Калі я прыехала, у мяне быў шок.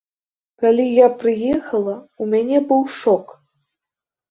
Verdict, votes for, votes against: accepted, 2, 0